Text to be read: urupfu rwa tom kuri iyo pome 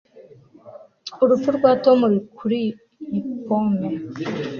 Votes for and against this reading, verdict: 0, 2, rejected